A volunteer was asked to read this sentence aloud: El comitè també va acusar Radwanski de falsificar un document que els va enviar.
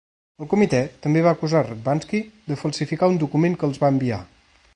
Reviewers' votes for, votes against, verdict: 2, 0, accepted